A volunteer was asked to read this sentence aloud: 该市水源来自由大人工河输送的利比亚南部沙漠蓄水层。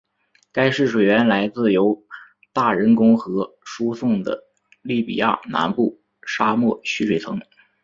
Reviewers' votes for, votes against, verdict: 3, 0, accepted